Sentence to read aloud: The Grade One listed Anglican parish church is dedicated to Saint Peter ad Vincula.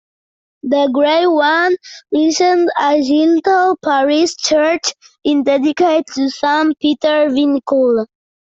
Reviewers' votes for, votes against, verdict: 0, 2, rejected